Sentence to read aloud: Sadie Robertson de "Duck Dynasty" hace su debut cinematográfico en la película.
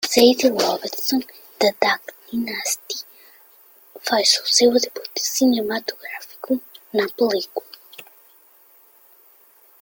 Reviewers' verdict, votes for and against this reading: rejected, 1, 2